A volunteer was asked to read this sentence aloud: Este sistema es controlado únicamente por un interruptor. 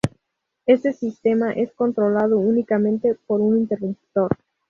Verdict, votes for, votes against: rejected, 0, 2